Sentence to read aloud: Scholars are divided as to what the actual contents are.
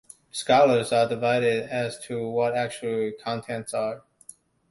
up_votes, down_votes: 2, 0